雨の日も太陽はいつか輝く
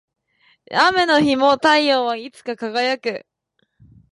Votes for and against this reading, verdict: 2, 0, accepted